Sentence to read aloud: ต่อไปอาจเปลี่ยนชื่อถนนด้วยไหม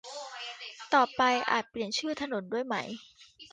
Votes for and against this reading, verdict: 1, 2, rejected